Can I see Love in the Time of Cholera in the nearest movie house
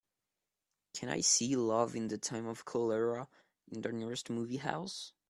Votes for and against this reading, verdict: 2, 0, accepted